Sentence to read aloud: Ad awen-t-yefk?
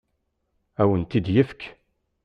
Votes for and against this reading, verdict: 1, 2, rejected